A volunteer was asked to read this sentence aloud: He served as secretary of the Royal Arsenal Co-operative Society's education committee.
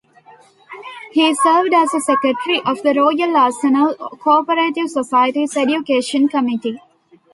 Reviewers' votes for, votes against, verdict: 0, 2, rejected